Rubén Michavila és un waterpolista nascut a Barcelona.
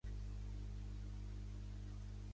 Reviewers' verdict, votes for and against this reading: rejected, 1, 2